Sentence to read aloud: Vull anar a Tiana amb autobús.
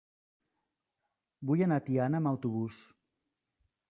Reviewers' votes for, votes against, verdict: 3, 0, accepted